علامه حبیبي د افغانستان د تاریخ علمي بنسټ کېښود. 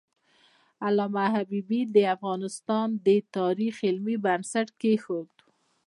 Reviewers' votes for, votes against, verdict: 0, 2, rejected